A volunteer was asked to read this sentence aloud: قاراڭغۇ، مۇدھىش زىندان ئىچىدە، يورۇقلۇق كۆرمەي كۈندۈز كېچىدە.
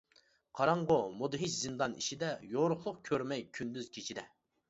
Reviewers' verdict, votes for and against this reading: accepted, 2, 0